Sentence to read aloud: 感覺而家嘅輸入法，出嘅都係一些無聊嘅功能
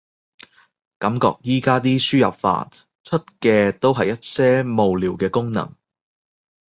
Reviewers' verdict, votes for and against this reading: rejected, 1, 2